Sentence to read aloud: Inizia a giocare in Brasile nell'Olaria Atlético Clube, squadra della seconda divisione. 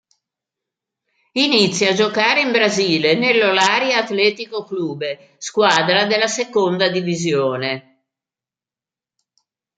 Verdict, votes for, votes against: rejected, 0, 2